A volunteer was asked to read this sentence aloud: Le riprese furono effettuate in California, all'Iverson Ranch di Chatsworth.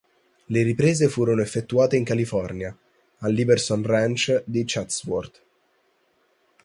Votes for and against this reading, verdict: 2, 2, rejected